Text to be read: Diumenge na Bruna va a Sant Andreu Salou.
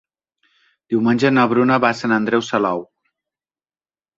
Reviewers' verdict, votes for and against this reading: accepted, 9, 0